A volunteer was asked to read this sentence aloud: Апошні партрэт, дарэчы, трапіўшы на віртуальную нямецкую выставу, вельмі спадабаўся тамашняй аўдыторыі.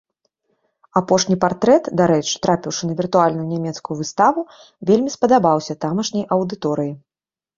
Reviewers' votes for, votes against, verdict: 3, 0, accepted